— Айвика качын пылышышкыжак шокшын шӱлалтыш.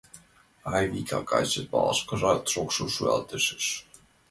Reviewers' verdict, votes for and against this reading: rejected, 0, 2